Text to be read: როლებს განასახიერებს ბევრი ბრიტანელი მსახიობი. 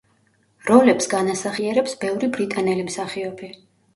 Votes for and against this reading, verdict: 2, 0, accepted